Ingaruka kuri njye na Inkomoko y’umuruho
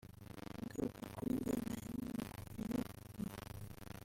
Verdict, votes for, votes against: rejected, 0, 3